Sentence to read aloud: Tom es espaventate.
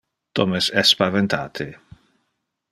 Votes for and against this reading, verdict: 1, 2, rejected